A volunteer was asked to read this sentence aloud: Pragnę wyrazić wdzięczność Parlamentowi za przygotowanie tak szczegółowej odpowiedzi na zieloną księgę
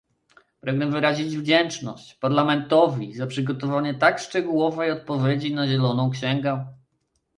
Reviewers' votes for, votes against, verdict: 0, 2, rejected